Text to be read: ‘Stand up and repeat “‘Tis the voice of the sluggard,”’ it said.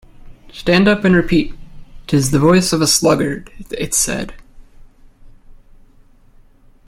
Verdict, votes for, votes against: accepted, 2, 0